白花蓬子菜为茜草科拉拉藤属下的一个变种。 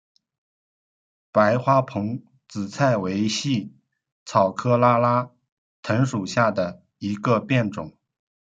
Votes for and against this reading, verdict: 0, 2, rejected